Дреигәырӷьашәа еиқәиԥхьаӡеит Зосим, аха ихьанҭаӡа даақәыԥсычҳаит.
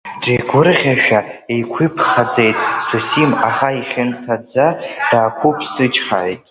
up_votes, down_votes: 1, 2